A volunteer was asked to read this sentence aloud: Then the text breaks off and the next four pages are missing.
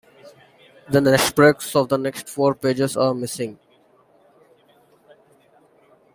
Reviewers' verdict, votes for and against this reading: rejected, 1, 2